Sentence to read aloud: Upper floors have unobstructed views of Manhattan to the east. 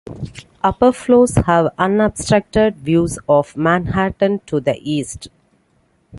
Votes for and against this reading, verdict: 2, 0, accepted